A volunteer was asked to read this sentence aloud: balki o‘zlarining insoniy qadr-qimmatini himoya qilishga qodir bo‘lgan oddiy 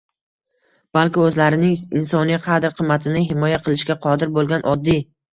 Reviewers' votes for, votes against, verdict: 0, 2, rejected